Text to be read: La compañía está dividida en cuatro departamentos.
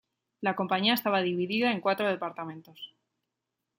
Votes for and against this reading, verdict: 1, 2, rejected